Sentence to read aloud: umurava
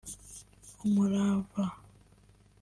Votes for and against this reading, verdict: 3, 0, accepted